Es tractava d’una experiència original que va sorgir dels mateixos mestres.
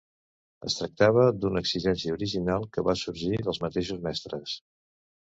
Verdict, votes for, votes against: rejected, 1, 2